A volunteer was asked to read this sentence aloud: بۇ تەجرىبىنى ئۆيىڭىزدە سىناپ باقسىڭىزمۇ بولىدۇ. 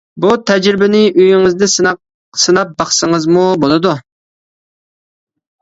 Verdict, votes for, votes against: rejected, 1, 2